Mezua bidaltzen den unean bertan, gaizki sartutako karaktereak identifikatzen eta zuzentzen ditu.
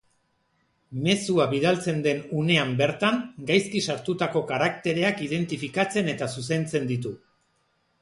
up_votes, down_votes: 2, 0